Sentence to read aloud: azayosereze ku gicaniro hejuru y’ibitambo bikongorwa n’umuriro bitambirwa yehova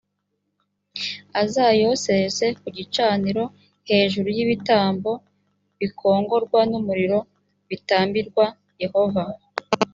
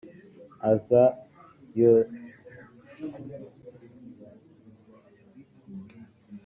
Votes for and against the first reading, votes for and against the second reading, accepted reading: 3, 0, 1, 2, first